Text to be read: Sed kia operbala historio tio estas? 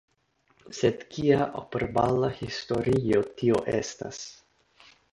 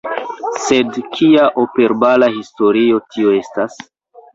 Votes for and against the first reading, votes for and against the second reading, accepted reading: 2, 0, 0, 2, first